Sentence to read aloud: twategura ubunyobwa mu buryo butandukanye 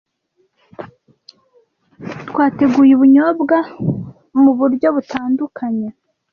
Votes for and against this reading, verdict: 1, 2, rejected